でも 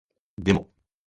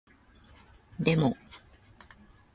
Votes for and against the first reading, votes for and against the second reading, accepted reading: 1, 2, 2, 0, second